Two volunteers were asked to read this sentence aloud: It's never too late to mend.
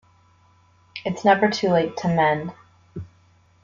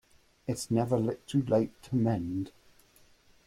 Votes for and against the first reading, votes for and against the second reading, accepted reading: 2, 0, 0, 2, first